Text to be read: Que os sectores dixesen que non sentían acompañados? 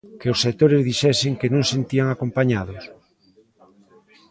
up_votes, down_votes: 1, 2